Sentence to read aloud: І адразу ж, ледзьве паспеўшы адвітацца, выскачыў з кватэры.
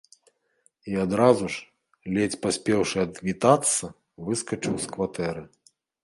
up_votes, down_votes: 0, 2